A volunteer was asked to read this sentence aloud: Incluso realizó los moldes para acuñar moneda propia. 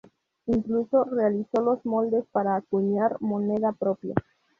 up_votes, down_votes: 2, 2